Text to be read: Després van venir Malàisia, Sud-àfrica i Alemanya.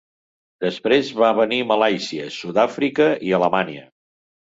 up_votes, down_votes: 0, 2